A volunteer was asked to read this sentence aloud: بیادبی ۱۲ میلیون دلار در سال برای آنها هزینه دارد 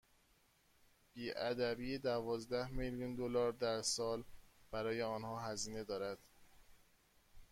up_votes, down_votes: 0, 2